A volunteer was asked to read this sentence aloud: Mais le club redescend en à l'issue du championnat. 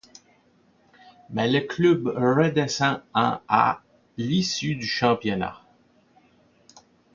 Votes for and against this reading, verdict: 1, 2, rejected